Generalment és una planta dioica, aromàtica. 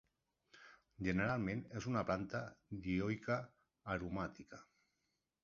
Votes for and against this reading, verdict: 2, 0, accepted